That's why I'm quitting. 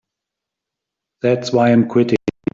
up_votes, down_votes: 2, 1